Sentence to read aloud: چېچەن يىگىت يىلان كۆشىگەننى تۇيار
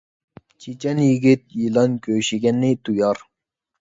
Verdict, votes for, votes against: accepted, 2, 0